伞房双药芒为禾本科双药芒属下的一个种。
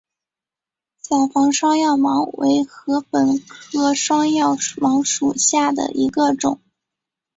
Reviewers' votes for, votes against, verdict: 3, 2, accepted